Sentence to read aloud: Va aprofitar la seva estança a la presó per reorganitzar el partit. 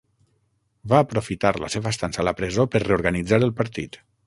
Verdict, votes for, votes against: accepted, 6, 0